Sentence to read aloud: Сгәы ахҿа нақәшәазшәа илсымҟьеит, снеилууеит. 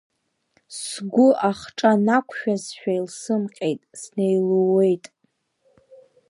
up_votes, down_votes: 0, 2